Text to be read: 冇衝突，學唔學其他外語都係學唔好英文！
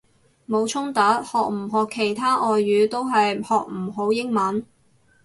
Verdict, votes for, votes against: accepted, 4, 0